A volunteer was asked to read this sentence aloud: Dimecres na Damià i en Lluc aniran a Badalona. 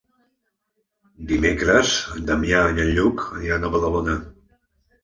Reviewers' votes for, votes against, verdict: 0, 2, rejected